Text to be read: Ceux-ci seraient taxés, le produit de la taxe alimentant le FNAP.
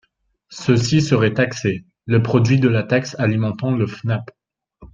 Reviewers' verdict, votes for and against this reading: accepted, 2, 0